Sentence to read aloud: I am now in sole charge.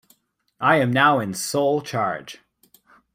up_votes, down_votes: 2, 0